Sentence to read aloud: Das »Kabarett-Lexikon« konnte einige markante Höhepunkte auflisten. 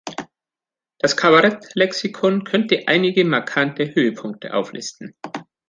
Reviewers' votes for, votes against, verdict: 0, 2, rejected